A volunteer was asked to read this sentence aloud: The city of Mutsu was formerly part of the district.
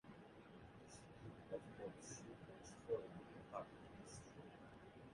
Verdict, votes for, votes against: rejected, 0, 2